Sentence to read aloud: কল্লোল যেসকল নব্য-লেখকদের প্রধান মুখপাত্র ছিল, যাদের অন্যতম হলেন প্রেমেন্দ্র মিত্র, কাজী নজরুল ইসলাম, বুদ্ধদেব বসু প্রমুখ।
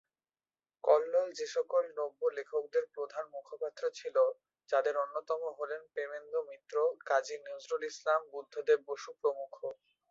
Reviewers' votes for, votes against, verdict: 2, 1, accepted